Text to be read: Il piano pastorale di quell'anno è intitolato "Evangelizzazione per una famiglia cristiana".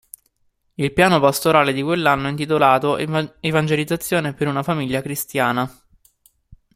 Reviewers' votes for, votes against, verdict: 1, 2, rejected